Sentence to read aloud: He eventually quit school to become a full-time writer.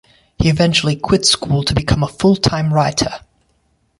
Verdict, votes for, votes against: rejected, 1, 2